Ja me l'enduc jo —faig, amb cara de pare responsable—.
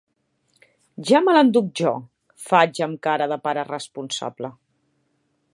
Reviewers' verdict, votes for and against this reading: accepted, 5, 0